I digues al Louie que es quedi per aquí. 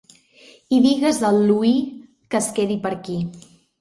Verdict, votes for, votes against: rejected, 1, 2